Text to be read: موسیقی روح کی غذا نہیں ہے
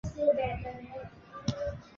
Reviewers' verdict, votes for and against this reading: rejected, 0, 3